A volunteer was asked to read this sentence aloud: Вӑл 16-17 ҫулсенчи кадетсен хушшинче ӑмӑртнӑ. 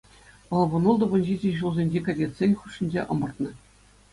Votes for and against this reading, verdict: 0, 2, rejected